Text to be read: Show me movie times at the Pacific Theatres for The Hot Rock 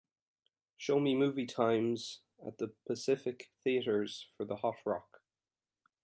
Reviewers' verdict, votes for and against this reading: accepted, 2, 0